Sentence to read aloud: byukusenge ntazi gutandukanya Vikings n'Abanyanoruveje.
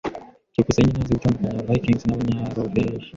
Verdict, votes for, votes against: rejected, 1, 2